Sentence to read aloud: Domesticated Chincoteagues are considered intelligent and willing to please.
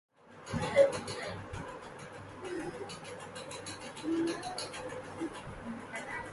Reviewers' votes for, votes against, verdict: 0, 2, rejected